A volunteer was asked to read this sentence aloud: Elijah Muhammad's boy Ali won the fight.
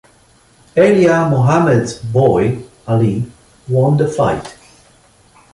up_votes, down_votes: 2, 0